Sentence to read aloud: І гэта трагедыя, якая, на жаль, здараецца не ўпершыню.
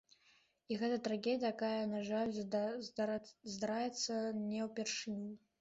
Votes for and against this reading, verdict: 0, 2, rejected